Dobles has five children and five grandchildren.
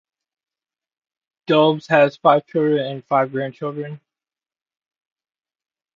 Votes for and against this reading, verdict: 0, 2, rejected